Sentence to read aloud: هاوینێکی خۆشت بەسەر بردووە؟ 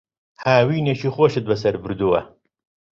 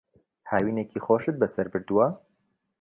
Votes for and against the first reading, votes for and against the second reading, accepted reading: 1, 2, 2, 0, second